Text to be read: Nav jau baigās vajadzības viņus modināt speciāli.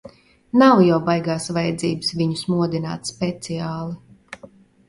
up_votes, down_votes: 2, 0